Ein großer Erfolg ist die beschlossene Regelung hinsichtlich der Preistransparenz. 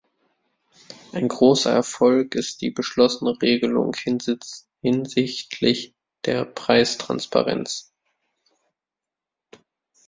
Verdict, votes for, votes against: rejected, 0, 2